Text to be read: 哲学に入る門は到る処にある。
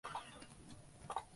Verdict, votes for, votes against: rejected, 0, 2